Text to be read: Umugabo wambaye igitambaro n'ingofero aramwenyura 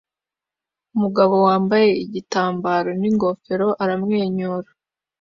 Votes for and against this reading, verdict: 2, 1, accepted